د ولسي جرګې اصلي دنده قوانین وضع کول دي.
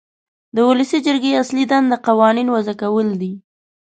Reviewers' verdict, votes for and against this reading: accepted, 2, 0